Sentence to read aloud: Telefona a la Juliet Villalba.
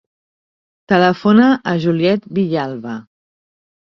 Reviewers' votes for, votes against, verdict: 2, 1, accepted